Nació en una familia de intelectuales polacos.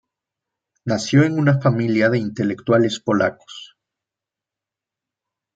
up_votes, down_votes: 2, 0